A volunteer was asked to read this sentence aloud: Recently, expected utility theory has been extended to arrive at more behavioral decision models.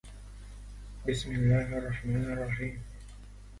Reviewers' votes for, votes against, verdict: 0, 2, rejected